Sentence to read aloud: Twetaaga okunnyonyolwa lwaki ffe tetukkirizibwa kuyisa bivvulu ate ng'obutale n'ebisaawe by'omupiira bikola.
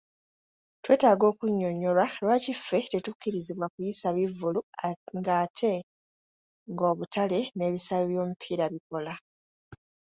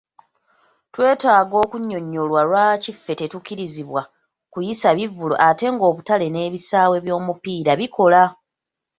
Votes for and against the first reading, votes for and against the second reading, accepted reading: 1, 3, 2, 1, second